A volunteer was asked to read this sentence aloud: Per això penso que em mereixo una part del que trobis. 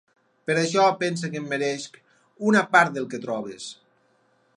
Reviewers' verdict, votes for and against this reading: rejected, 2, 4